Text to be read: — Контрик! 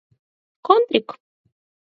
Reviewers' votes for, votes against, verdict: 4, 0, accepted